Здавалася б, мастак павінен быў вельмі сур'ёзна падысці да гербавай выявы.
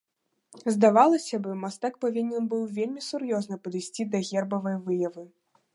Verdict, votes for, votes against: rejected, 1, 2